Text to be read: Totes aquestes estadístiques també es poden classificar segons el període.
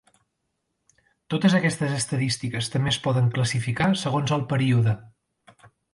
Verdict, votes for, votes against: accepted, 2, 0